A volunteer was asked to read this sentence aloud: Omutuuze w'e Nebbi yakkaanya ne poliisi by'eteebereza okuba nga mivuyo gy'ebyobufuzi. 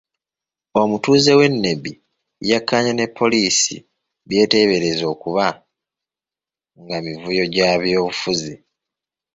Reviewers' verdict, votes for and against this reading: accepted, 3, 2